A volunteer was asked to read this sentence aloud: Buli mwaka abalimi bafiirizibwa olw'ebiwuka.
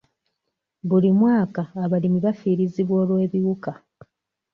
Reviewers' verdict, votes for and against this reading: accepted, 2, 0